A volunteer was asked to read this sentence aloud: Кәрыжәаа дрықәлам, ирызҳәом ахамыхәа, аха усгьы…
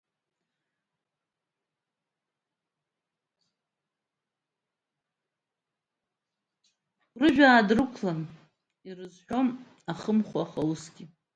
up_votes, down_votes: 0, 2